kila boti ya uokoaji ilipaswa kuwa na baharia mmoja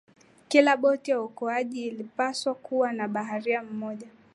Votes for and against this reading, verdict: 2, 0, accepted